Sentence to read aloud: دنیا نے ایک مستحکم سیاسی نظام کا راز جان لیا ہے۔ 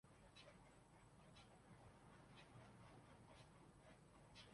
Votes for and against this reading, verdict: 0, 2, rejected